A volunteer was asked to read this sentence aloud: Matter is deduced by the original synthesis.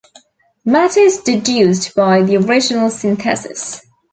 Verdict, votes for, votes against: accepted, 2, 0